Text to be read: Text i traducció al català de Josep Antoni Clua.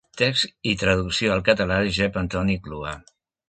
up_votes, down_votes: 1, 2